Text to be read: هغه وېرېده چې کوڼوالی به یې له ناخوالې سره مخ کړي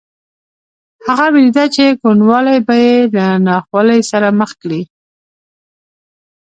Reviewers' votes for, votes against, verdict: 1, 2, rejected